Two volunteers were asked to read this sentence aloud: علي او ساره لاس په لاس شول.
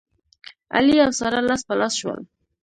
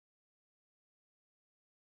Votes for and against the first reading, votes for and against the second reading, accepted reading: 2, 0, 1, 2, first